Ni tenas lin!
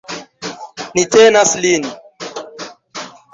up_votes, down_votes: 1, 2